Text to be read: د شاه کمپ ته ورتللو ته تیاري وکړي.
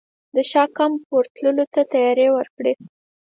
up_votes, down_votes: 2, 4